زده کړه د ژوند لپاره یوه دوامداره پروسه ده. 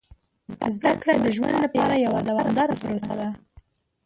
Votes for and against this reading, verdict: 0, 2, rejected